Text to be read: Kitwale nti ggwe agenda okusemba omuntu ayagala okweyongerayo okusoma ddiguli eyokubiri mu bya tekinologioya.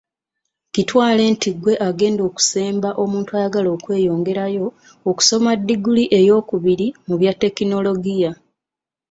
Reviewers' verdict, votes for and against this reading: accepted, 2, 0